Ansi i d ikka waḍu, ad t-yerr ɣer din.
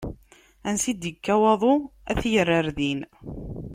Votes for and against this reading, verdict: 2, 0, accepted